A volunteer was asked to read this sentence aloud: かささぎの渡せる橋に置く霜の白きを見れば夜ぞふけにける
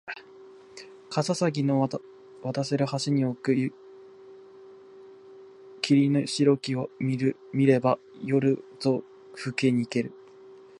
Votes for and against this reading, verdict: 0, 2, rejected